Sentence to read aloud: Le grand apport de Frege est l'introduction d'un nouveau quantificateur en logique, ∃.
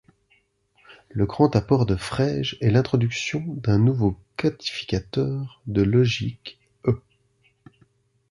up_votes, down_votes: 0, 2